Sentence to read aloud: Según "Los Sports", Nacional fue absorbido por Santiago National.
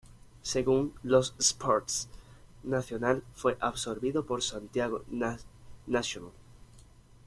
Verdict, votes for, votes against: rejected, 1, 2